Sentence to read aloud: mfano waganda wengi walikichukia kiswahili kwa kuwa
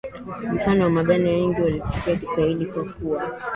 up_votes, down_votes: 8, 3